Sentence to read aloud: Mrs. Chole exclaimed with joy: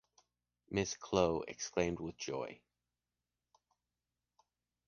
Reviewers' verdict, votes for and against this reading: accepted, 2, 0